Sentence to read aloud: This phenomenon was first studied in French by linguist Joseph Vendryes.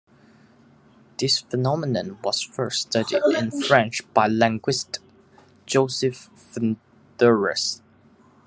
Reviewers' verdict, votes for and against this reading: rejected, 0, 2